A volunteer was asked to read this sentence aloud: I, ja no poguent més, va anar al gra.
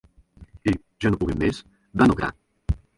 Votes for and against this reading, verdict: 0, 2, rejected